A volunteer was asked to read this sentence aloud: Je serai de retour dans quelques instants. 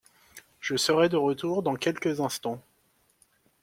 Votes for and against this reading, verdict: 2, 0, accepted